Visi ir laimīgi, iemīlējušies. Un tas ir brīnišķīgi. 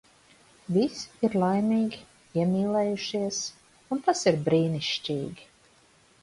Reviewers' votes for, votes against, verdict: 0, 2, rejected